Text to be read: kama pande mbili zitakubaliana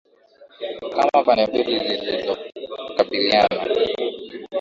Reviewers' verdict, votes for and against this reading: rejected, 0, 2